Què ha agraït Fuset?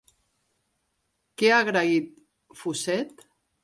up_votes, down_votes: 4, 1